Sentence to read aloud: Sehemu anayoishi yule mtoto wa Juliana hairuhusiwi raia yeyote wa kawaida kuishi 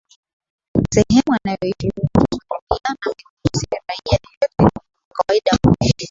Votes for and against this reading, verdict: 0, 2, rejected